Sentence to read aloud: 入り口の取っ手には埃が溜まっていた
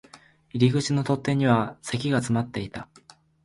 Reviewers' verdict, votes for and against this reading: rejected, 0, 2